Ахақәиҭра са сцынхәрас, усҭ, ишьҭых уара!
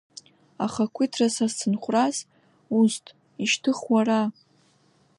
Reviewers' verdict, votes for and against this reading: accepted, 2, 0